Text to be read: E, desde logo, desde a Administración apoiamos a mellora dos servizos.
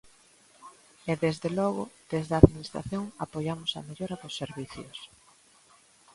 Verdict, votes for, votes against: rejected, 1, 2